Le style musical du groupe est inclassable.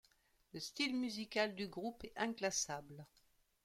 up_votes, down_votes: 2, 0